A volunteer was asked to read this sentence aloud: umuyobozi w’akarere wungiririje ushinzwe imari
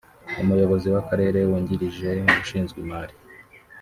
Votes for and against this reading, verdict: 0, 2, rejected